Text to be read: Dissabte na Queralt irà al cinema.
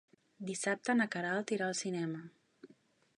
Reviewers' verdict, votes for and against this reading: accepted, 3, 0